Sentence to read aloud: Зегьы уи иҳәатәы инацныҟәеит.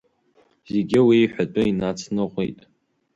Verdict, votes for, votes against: accepted, 2, 0